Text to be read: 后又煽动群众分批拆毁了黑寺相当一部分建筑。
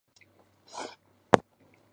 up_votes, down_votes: 1, 2